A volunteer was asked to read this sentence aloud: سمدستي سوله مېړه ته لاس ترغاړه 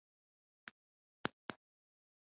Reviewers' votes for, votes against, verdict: 1, 2, rejected